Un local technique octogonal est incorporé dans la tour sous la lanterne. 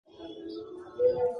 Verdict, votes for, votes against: rejected, 0, 2